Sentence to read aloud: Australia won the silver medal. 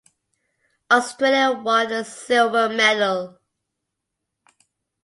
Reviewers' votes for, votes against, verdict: 2, 0, accepted